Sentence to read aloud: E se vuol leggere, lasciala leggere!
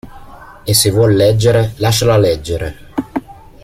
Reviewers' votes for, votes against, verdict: 2, 0, accepted